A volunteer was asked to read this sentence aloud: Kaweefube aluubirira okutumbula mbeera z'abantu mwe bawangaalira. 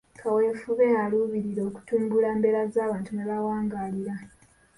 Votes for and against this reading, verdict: 2, 0, accepted